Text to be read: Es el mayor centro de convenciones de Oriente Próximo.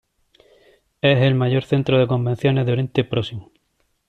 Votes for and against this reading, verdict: 1, 2, rejected